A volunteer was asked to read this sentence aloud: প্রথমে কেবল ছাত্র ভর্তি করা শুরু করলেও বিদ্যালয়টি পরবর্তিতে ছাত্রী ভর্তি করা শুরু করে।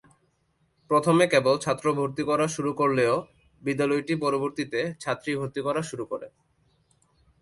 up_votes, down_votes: 2, 1